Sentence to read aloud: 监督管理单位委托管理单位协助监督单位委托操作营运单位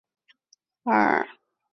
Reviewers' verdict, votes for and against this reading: rejected, 0, 2